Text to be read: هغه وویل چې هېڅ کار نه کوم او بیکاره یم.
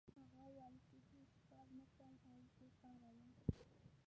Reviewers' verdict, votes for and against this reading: rejected, 0, 2